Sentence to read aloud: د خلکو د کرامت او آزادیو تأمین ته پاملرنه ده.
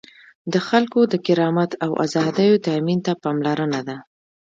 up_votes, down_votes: 1, 2